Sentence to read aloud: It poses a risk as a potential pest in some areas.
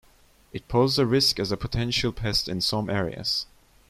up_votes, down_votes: 1, 2